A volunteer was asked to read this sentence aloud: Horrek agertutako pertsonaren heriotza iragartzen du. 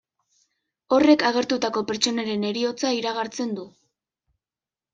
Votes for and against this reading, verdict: 2, 0, accepted